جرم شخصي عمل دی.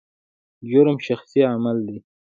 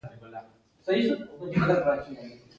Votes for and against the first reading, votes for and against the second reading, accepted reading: 2, 0, 0, 2, first